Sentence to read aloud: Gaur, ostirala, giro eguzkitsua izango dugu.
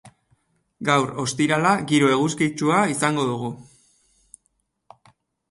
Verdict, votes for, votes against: accepted, 2, 0